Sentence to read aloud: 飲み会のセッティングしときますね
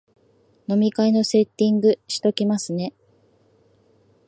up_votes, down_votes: 2, 0